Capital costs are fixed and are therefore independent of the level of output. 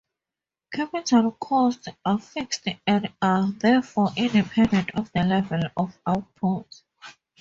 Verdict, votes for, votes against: rejected, 4, 6